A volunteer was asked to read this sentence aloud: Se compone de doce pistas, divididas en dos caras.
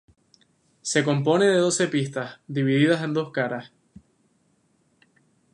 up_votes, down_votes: 0, 2